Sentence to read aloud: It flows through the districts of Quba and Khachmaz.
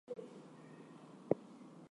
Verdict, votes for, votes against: rejected, 0, 2